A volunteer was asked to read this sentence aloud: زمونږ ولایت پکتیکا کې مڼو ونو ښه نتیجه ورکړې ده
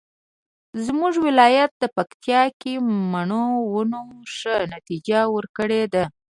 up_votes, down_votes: 1, 2